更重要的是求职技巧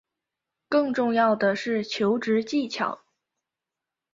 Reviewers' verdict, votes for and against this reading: accepted, 2, 1